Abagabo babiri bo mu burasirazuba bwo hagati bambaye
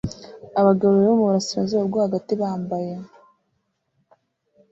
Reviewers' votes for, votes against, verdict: 2, 0, accepted